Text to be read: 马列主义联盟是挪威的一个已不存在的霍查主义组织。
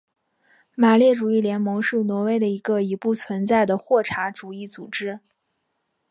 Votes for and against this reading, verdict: 4, 0, accepted